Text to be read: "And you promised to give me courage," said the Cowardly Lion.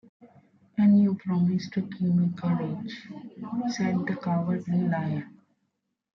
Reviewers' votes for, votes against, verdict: 1, 2, rejected